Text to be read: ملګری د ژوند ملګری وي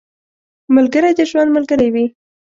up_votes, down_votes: 2, 0